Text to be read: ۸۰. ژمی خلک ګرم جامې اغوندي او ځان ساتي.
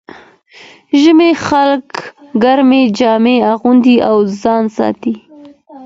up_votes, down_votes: 0, 2